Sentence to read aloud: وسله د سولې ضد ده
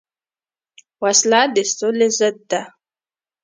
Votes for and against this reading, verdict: 2, 1, accepted